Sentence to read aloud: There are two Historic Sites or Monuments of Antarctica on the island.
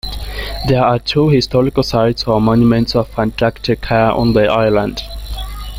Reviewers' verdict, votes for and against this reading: accepted, 2, 1